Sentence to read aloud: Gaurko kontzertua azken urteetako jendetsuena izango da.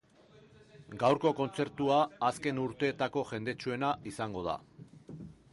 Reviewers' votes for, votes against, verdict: 5, 0, accepted